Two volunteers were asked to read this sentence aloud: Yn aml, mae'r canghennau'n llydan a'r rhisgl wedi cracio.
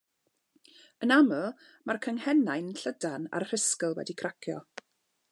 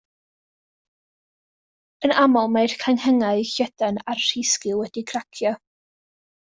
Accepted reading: first